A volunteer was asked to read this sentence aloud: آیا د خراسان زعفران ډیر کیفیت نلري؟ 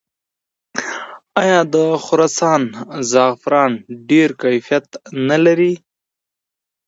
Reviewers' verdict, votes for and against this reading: accepted, 2, 0